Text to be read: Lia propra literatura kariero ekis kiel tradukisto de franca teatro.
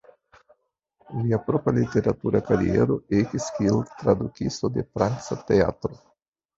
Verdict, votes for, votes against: rejected, 1, 2